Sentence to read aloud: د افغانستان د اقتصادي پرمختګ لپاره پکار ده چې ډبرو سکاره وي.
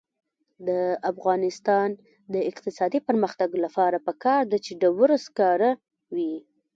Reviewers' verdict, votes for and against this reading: rejected, 0, 2